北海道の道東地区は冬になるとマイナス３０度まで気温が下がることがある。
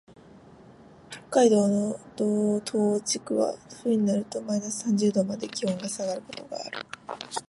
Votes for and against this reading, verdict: 0, 2, rejected